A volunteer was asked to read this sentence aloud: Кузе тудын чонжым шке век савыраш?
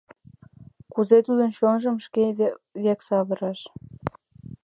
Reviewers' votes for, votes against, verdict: 1, 2, rejected